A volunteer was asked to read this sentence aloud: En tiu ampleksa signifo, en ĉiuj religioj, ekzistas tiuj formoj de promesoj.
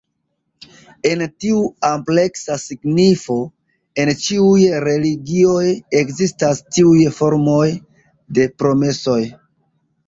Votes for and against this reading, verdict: 2, 0, accepted